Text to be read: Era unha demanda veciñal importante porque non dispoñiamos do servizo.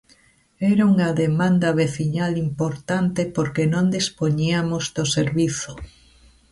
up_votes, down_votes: 1, 2